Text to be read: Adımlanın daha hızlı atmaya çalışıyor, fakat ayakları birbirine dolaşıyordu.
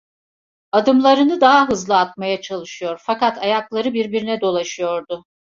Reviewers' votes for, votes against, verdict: 2, 0, accepted